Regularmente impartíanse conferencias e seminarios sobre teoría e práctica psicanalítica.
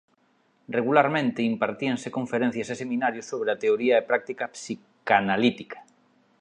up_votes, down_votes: 0, 2